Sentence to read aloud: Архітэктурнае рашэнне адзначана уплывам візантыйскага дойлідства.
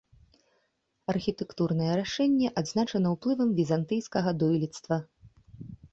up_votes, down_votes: 2, 0